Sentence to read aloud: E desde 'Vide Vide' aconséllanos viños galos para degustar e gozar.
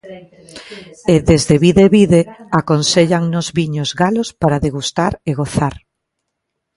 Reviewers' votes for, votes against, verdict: 1, 2, rejected